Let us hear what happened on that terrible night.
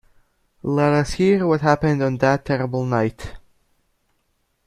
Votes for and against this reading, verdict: 2, 0, accepted